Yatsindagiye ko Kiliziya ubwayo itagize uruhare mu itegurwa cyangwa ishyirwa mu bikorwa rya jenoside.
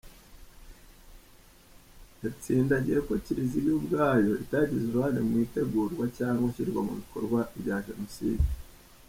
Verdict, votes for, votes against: rejected, 0, 2